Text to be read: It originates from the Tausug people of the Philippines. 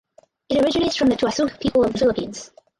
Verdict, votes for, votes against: rejected, 2, 2